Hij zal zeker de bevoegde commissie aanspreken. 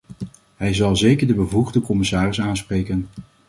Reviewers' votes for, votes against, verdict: 1, 2, rejected